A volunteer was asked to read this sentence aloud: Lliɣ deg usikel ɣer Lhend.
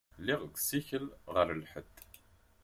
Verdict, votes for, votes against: rejected, 0, 2